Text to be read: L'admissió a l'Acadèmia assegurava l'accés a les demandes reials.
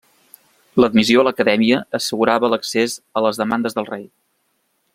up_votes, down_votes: 0, 2